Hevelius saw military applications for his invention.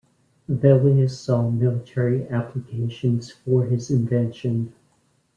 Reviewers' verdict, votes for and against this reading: accepted, 2, 0